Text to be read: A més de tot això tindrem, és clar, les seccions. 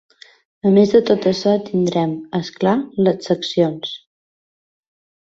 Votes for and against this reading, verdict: 2, 0, accepted